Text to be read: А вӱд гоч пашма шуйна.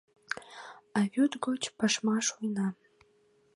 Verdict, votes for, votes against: accepted, 2, 0